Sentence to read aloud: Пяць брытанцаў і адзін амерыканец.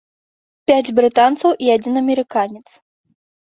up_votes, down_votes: 2, 0